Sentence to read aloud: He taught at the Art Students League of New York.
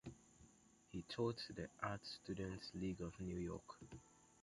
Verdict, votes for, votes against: rejected, 1, 2